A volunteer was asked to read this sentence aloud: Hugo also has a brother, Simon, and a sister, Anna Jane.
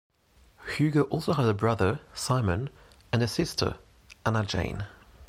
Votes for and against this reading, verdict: 2, 1, accepted